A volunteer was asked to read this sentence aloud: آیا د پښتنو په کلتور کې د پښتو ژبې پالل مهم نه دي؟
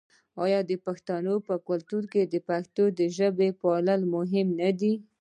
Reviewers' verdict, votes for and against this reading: rejected, 1, 2